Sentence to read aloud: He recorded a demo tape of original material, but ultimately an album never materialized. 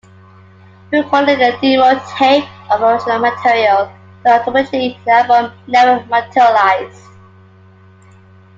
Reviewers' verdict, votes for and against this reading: rejected, 0, 2